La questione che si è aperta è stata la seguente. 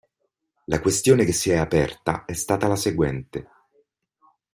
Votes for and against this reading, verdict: 2, 0, accepted